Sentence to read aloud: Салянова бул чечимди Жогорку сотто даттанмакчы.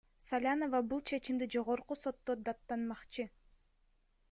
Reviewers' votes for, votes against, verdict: 2, 0, accepted